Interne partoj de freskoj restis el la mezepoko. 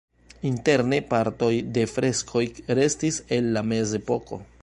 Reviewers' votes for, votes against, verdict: 2, 0, accepted